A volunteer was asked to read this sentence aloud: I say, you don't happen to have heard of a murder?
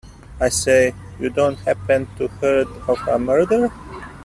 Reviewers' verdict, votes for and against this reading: rejected, 1, 2